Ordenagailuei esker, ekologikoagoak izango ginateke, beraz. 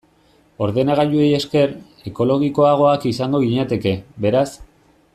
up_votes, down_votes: 1, 2